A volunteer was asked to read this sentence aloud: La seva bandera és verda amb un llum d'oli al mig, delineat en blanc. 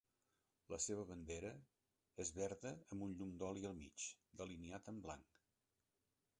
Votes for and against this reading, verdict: 2, 1, accepted